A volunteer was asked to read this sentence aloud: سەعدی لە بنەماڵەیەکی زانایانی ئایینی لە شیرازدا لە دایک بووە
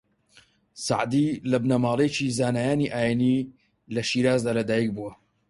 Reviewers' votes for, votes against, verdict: 4, 0, accepted